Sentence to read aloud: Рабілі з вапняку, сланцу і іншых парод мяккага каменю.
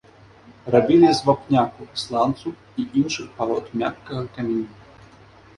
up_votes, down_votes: 0, 2